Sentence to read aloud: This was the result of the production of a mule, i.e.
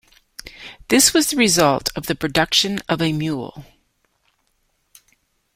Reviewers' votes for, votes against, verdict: 0, 2, rejected